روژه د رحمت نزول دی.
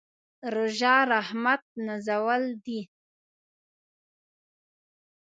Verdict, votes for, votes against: rejected, 0, 2